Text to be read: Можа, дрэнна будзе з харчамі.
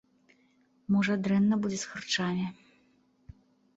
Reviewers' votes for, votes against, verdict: 2, 0, accepted